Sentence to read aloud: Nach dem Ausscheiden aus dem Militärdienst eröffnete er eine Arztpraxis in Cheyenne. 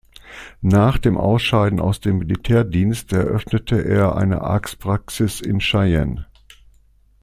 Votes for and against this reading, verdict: 2, 0, accepted